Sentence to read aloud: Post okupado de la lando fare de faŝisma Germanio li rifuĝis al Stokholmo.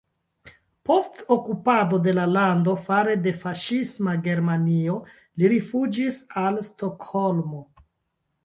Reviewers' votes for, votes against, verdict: 3, 2, accepted